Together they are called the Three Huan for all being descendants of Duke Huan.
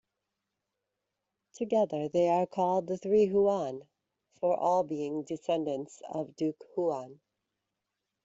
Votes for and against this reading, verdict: 2, 0, accepted